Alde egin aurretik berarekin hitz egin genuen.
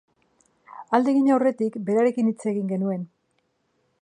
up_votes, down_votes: 2, 0